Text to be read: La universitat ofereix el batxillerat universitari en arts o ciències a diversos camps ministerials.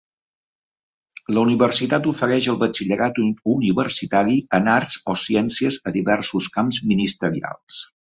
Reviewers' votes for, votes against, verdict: 3, 0, accepted